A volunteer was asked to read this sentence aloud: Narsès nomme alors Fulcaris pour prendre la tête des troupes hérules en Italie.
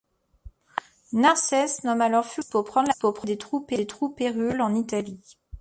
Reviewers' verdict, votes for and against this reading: rejected, 0, 2